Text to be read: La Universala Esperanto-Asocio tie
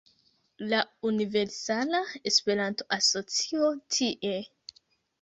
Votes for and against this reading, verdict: 2, 1, accepted